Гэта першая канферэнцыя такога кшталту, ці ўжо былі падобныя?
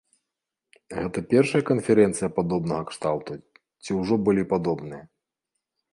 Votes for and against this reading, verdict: 1, 4, rejected